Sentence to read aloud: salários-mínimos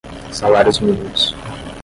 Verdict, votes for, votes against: rejected, 0, 5